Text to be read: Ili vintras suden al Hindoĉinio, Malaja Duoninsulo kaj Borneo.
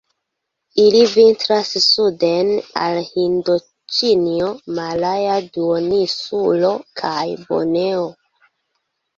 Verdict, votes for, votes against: rejected, 0, 2